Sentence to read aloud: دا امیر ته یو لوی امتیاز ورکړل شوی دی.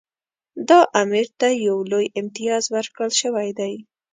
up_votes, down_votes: 2, 0